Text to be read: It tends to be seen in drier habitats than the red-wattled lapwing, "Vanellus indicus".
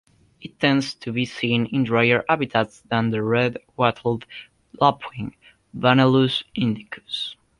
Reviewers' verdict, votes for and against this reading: rejected, 1, 2